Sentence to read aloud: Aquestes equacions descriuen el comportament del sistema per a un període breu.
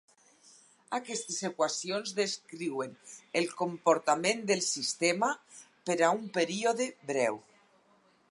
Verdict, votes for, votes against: accepted, 4, 0